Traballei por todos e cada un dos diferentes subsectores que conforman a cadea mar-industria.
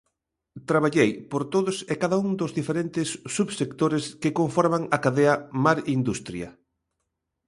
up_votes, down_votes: 2, 0